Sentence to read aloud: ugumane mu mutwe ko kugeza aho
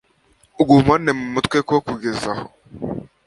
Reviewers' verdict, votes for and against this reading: accepted, 2, 0